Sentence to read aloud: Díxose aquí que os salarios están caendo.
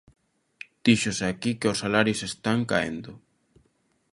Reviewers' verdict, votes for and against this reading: accepted, 2, 0